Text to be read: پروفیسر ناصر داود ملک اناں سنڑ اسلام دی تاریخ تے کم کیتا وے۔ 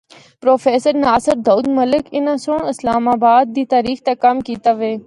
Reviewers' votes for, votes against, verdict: 1, 2, rejected